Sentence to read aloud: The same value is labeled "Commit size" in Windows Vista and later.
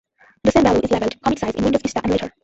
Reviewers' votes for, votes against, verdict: 0, 2, rejected